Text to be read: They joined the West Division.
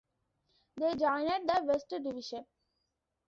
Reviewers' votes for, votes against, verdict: 0, 2, rejected